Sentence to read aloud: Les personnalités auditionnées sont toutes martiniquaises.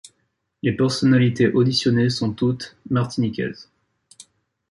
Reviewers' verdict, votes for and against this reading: accepted, 2, 0